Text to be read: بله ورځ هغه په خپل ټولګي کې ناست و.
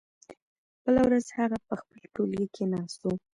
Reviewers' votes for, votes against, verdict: 2, 0, accepted